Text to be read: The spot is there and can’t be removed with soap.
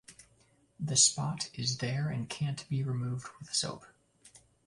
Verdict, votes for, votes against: accepted, 2, 0